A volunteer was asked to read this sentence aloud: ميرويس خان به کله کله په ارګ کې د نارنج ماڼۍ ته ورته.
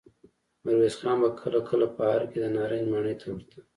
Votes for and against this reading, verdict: 2, 0, accepted